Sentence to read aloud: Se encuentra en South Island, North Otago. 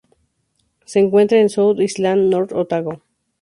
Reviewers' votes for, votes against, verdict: 2, 0, accepted